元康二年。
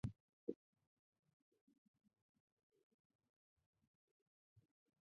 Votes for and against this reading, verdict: 0, 2, rejected